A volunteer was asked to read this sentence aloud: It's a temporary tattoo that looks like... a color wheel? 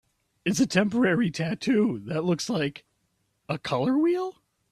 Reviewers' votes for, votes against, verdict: 4, 0, accepted